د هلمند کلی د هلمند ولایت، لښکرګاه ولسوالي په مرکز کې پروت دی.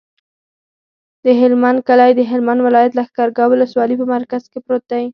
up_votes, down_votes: 0, 4